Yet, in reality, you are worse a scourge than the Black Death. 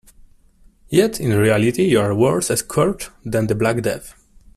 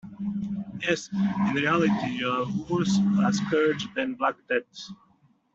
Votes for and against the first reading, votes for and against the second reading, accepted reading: 2, 0, 0, 2, first